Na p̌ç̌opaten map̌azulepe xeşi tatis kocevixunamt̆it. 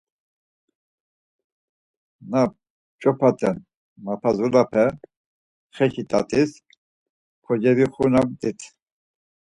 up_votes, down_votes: 4, 0